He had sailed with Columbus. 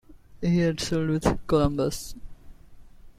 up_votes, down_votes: 2, 0